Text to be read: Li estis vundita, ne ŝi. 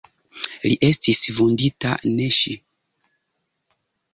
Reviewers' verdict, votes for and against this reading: rejected, 0, 2